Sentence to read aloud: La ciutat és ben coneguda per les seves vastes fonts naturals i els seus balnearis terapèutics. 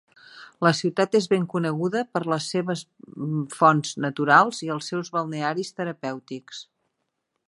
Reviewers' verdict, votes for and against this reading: rejected, 0, 2